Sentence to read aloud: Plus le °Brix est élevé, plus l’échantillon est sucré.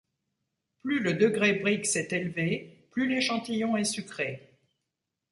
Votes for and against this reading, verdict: 1, 2, rejected